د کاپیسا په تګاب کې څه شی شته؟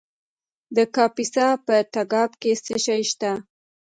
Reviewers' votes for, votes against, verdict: 2, 0, accepted